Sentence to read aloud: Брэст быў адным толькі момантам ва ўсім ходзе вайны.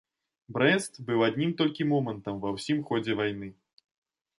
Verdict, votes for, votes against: rejected, 1, 2